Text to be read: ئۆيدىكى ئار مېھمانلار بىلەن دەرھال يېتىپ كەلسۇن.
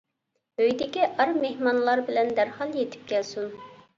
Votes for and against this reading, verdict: 2, 0, accepted